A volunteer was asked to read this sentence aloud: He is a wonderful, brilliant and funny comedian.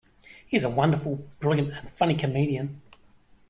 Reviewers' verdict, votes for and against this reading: accepted, 2, 1